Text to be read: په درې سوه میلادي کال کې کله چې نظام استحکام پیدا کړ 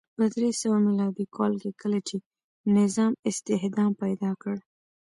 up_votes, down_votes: 1, 2